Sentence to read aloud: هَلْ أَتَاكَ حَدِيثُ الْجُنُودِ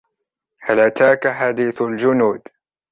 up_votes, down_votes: 0, 2